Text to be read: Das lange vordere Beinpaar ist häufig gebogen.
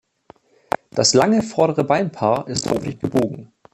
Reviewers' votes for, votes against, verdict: 2, 1, accepted